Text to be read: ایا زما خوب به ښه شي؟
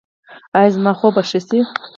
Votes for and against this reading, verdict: 2, 4, rejected